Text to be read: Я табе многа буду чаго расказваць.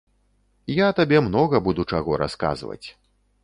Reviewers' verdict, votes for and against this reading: accepted, 3, 0